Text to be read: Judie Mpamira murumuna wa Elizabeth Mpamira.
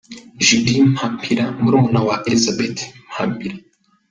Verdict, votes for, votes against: rejected, 0, 2